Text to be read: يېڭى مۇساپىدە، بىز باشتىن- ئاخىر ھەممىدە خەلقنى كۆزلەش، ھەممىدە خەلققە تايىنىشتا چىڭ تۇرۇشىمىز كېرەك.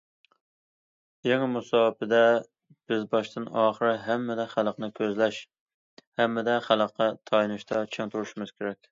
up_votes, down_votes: 2, 0